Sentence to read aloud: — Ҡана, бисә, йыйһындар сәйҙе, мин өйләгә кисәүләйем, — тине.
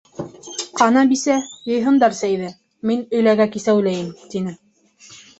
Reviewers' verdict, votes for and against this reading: rejected, 1, 2